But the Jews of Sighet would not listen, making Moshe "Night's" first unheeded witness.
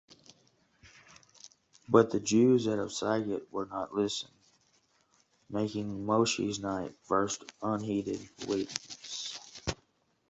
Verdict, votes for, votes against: rejected, 0, 2